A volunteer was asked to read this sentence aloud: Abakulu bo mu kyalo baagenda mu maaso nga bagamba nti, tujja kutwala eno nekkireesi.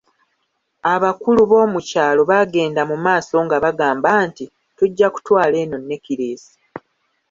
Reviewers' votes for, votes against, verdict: 2, 1, accepted